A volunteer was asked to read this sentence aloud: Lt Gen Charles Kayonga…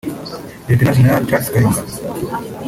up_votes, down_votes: 0, 2